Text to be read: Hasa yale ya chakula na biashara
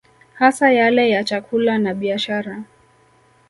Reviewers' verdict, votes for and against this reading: accepted, 2, 0